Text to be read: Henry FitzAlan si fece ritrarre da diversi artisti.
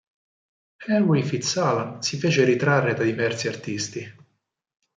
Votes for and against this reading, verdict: 4, 2, accepted